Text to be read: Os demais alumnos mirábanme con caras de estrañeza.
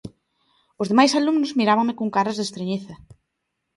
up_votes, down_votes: 2, 0